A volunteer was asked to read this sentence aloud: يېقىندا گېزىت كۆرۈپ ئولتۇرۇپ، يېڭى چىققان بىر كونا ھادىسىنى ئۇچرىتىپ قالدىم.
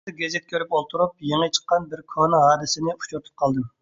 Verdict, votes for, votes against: rejected, 1, 2